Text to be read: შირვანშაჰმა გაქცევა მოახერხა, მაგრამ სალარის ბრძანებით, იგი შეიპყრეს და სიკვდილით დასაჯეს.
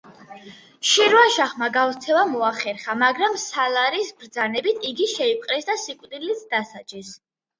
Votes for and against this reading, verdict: 2, 0, accepted